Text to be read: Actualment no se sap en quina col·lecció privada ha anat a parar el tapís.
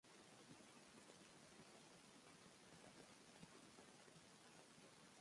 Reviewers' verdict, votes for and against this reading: rejected, 0, 2